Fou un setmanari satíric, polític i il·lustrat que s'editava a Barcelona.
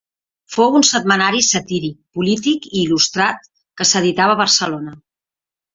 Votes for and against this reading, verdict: 2, 0, accepted